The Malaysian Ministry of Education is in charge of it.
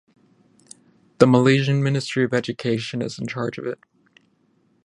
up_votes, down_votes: 15, 0